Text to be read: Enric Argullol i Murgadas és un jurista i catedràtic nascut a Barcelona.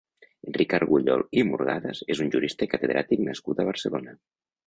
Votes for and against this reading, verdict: 1, 2, rejected